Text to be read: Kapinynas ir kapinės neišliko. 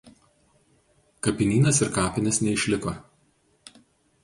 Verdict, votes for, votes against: accepted, 2, 0